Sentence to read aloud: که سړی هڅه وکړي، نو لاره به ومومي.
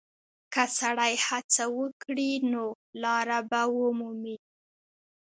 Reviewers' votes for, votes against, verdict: 2, 0, accepted